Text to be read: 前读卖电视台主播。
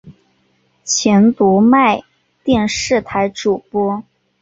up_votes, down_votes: 2, 0